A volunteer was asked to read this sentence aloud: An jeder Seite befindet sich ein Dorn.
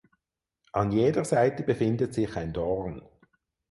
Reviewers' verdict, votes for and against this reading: accepted, 6, 0